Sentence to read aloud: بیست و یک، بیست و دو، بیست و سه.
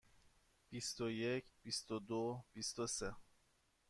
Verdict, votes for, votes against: accepted, 2, 0